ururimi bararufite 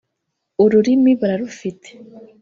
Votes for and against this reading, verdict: 1, 2, rejected